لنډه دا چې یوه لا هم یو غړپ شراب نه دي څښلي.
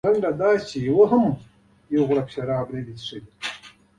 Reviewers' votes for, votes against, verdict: 2, 0, accepted